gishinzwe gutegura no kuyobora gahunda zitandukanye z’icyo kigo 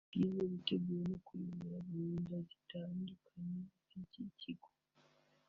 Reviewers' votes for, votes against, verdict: 1, 2, rejected